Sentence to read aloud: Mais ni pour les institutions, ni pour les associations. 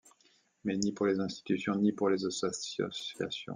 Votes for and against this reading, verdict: 0, 2, rejected